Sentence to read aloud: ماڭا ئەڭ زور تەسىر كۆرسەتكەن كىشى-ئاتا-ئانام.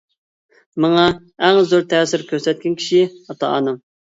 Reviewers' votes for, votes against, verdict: 2, 1, accepted